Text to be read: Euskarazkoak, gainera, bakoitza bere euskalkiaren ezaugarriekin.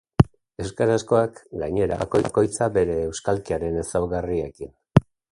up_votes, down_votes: 1, 2